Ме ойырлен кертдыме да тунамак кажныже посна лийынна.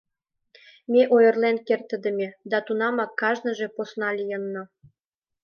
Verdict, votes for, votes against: rejected, 1, 2